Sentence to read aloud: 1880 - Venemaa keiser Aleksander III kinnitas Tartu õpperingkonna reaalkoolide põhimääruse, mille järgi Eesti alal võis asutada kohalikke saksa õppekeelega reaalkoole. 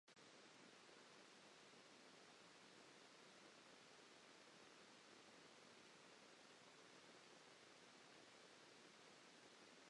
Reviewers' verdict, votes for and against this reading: rejected, 0, 2